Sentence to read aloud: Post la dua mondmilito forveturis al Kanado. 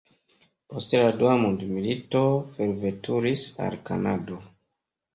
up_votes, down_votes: 2, 0